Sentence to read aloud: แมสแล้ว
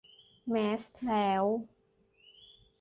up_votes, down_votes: 2, 0